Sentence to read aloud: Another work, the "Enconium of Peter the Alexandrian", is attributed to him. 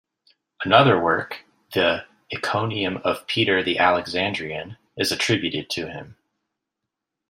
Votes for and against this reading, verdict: 1, 2, rejected